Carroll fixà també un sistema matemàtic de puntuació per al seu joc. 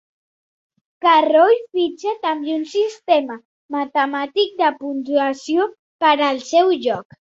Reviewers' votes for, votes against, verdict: 1, 2, rejected